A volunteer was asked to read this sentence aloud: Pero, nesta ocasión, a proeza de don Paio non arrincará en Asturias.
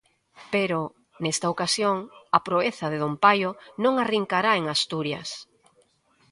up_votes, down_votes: 2, 0